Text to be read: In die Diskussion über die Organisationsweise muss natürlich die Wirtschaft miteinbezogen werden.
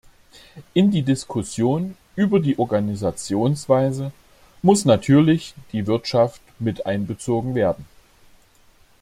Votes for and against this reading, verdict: 2, 0, accepted